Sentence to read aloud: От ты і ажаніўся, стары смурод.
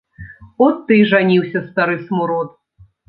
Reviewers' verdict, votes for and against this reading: rejected, 1, 2